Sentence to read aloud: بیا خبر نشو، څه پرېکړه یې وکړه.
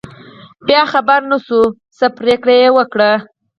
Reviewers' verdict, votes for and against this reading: rejected, 2, 4